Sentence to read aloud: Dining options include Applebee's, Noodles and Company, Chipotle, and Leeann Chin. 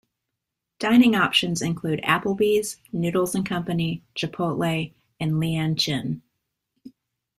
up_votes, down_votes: 2, 0